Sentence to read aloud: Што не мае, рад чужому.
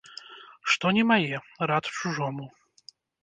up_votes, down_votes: 1, 2